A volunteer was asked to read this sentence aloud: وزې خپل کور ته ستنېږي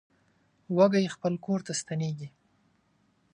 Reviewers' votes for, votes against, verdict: 0, 2, rejected